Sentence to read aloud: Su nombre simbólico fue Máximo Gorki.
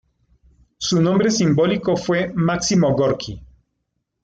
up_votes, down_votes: 2, 0